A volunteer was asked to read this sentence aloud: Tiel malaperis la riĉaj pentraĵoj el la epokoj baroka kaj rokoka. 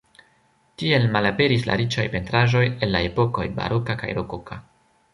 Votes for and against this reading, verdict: 2, 0, accepted